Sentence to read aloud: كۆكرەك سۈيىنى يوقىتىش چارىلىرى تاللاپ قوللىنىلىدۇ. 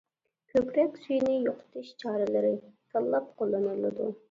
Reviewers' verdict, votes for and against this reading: accepted, 2, 1